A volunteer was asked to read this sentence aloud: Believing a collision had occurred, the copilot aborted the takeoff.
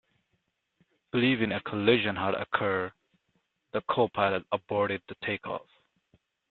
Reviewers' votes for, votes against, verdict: 2, 0, accepted